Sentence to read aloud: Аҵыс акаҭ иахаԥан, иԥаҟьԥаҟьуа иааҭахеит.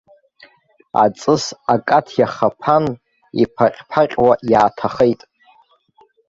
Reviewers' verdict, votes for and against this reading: rejected, 0, 2